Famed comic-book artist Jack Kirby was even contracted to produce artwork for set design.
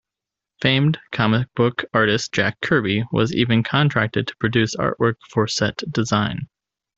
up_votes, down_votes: 2, 0